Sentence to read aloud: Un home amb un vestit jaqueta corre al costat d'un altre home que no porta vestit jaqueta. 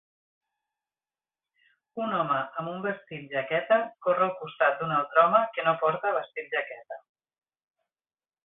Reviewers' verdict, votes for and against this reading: accepted, 3, 0